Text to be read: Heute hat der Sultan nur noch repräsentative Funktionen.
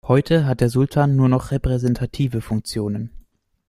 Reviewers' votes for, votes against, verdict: 2, 0, accepted